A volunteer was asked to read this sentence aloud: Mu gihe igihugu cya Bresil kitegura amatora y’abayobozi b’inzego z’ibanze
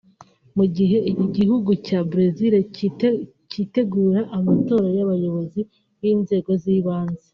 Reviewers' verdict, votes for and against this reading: rejected, 0, 2